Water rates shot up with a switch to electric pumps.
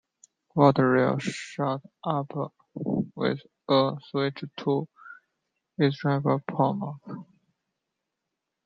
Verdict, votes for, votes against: rejected, 0, 2